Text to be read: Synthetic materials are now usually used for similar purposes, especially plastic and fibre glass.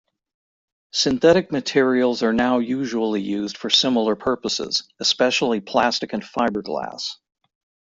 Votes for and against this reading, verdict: 1, 3, rejected